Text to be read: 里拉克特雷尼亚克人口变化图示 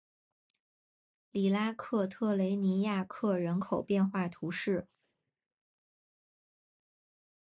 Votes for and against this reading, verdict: 3, 1, accepted